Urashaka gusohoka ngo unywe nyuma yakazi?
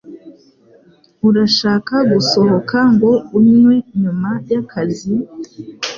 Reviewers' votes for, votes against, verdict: 2, 0, accepted